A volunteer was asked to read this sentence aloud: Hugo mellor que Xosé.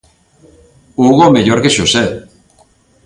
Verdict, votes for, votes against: accepted, 2, 0